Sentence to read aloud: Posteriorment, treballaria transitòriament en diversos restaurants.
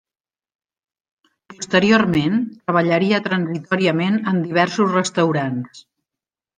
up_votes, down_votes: 1, 2